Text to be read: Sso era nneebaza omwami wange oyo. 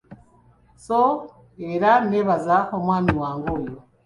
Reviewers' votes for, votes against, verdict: 4, 0, accepted